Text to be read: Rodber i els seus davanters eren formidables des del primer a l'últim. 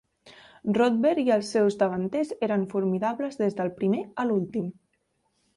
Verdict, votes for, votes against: accepted, 5, 0